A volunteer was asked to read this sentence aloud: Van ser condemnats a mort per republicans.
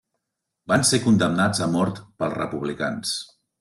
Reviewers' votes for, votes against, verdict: 2, 0, accepted